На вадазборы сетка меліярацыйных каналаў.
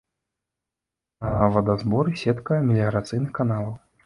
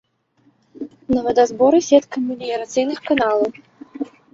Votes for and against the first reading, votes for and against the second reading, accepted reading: 1, 2, 2, 0, second